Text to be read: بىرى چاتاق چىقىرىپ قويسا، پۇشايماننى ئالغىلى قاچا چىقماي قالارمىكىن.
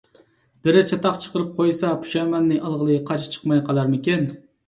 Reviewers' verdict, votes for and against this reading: accepted, 2, 0